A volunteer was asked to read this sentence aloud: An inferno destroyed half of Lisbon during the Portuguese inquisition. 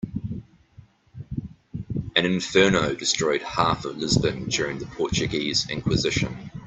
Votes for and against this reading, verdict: 2, 0, accepted